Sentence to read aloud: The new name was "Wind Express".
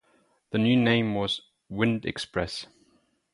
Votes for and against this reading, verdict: 4, 0, accepted